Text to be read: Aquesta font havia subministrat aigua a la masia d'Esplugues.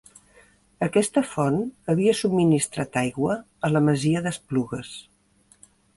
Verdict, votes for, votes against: accepted, 2, 1